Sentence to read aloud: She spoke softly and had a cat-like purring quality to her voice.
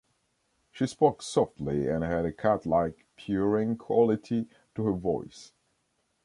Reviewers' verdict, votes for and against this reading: rejected, 1, 2